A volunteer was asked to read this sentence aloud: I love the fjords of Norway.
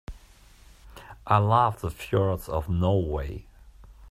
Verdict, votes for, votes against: accepted, 2, 0